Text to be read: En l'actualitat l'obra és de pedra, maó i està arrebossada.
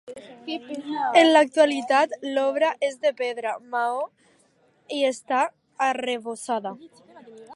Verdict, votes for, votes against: accepted, 2, 0